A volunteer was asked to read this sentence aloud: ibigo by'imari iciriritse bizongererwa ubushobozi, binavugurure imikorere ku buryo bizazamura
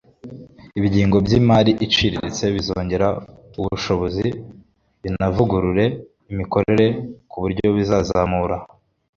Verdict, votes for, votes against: rejected, 1, 2